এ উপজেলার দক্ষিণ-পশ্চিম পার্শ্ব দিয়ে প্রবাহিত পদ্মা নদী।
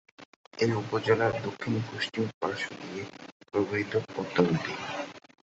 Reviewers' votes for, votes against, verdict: 3, 8, rejected